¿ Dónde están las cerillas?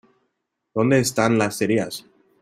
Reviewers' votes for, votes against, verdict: 2, 1, accepted